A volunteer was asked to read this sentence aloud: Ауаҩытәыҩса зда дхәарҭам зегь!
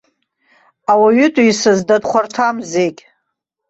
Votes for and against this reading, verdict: 2, 0, accepted